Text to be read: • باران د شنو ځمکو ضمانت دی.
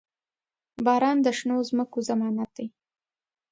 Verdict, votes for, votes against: accepted, 2, 0